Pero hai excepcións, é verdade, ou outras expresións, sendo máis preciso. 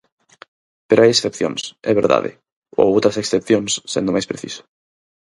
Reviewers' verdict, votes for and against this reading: rejected, 0, 6